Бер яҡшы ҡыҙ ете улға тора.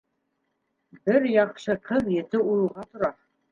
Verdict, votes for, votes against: rejected, 0, 2